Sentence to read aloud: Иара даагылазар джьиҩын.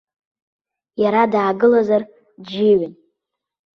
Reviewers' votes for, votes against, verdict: 2, 0, accepted